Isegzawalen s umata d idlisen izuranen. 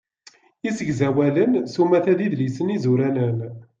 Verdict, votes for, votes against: accepted, 2, 0